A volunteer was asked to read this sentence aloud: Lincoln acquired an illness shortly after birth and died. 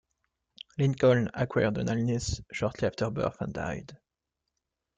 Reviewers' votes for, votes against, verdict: 2, 0, accepted